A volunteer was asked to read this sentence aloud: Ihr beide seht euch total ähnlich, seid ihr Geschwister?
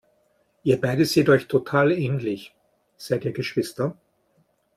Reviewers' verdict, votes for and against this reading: accepted, 3, 0